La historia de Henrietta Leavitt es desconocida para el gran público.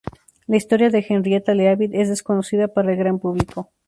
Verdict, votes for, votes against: rejected, 0, 2